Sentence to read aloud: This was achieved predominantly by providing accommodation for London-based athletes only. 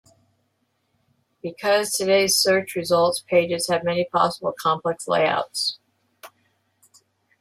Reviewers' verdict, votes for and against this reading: rejected, 0, 2